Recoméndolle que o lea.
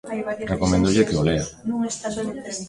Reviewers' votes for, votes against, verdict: 0, 2, rejected